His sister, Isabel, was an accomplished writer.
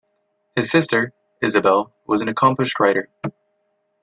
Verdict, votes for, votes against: accepted, 2, 0